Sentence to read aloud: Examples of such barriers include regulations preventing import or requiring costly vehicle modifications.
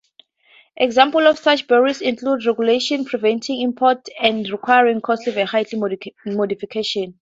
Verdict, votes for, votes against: rejected, 0, 2